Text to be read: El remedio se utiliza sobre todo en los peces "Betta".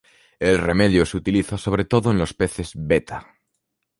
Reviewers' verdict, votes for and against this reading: accepted, 2, 0